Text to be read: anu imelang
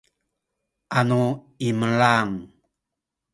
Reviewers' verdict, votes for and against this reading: accepted, 2, 0